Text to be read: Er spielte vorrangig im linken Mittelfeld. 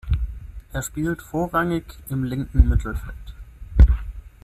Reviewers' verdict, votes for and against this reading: rejected, 0, 6